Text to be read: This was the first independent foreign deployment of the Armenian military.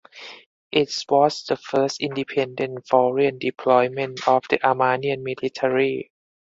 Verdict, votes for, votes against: rejected, 2, 4